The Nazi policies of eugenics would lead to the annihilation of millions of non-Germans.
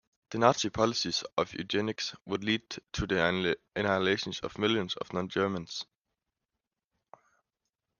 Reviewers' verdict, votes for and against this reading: rejected, 0, 2